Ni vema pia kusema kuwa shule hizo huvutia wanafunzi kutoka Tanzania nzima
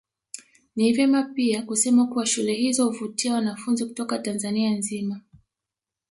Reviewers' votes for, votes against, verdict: 2, 0, accepted